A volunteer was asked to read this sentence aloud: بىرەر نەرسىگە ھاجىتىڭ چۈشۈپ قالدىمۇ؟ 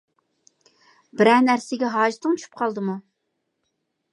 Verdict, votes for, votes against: accepted, 2, 0